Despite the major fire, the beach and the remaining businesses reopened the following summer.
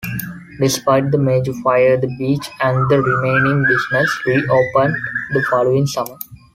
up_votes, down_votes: 2, 1